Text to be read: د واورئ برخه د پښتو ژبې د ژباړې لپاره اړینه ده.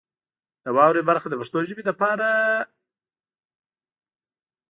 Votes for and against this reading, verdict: 0, 2, rejected